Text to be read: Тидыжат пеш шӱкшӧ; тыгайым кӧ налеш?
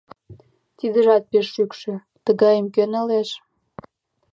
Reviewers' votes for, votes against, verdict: 2, 0, accepted